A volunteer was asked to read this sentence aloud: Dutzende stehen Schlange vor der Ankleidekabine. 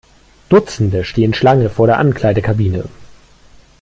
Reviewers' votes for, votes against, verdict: 2, 0, accepted